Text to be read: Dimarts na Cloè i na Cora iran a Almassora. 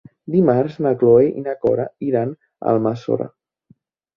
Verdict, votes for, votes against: accepted, 3, 0